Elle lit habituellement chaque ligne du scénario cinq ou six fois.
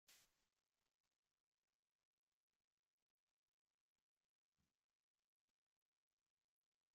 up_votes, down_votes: 0, 2